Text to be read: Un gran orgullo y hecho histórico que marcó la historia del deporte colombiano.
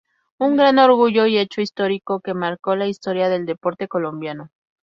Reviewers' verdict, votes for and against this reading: rejected, 2, 2